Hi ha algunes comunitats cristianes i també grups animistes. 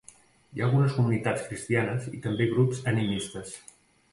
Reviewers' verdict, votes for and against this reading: accepted, 2, 0